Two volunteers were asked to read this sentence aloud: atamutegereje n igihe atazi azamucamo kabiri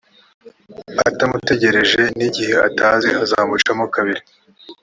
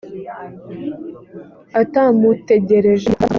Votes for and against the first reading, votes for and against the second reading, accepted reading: 3, 0, 0, 2, first